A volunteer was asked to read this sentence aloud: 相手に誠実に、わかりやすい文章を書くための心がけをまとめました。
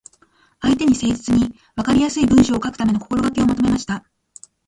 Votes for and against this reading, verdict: 1, 2, rejected